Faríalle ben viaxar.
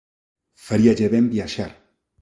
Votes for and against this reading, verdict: 2, 1, accepted